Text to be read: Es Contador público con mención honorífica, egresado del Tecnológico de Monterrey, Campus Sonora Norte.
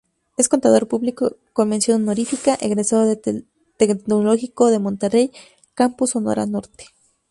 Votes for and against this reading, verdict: 2, 4, rejected